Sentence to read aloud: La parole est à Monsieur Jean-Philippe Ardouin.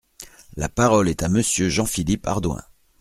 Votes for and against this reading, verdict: 2, 0, accepted